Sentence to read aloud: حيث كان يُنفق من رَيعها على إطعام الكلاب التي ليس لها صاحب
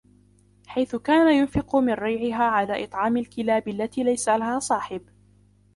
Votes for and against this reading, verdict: 0, 2, rejected